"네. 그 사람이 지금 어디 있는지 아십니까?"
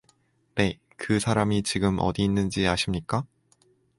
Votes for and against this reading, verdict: 0, 2, rejected